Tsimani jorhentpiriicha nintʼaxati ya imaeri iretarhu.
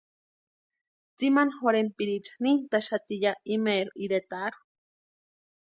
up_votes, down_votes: 2, 0